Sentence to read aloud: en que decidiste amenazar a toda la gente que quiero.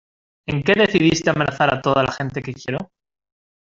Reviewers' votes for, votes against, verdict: 1, 2, rejected